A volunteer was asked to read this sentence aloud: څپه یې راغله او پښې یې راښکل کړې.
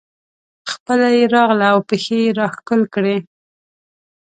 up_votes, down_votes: 0, 2